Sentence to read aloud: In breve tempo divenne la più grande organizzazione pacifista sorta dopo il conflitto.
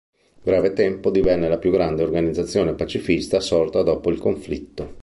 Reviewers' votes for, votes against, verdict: 2, 0, accepted